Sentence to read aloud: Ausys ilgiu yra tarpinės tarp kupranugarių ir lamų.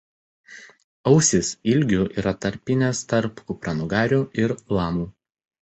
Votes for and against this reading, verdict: 1, 2, rejected